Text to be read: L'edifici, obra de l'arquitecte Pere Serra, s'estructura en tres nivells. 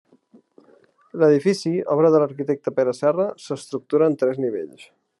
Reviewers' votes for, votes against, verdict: 3, 0, accepted